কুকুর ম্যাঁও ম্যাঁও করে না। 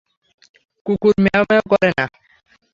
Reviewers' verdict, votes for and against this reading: accepted, 3, 0